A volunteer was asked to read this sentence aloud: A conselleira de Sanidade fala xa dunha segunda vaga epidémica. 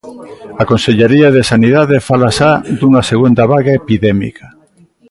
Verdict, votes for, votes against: accepted, 2, 1